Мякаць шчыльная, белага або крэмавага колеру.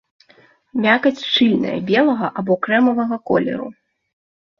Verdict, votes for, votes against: accepted, 3, 0